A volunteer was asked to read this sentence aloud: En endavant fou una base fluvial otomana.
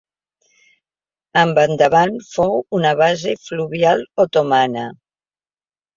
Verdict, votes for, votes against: rejected, 1, 2